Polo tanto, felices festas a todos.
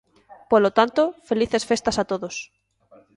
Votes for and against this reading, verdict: 1, 2, rejected